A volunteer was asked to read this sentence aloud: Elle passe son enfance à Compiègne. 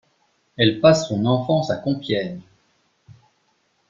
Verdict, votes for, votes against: accepted, 2, 0